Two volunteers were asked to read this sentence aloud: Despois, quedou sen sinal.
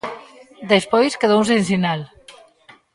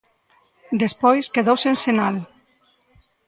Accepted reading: second